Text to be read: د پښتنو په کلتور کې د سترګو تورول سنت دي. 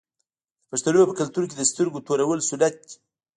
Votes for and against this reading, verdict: 2, 0, accepted